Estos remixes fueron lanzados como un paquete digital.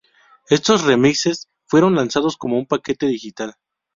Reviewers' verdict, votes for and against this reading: accepted, 4, 0